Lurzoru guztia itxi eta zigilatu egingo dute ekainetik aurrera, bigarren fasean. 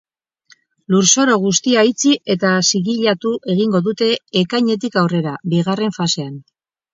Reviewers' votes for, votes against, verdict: 0, 2, rejected